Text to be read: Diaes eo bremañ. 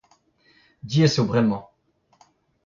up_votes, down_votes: 1, 3